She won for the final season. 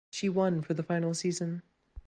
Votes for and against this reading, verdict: 2, 0, accepted